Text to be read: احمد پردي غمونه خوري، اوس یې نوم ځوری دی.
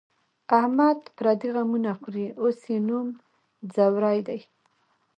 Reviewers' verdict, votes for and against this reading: accepted, 2, 0